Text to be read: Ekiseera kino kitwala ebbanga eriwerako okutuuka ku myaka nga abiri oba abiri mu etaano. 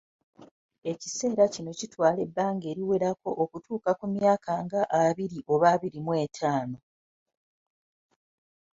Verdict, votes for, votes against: accepted, 2, 0